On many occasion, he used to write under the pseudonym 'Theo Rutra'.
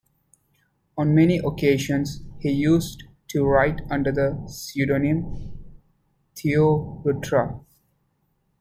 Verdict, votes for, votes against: rejected, 1, 2